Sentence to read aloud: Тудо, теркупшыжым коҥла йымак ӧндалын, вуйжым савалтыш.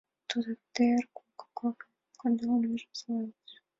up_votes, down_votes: 1, 3